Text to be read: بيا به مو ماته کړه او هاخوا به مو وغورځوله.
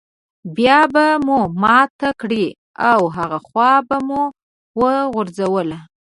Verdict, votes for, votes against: rejected, 1, 2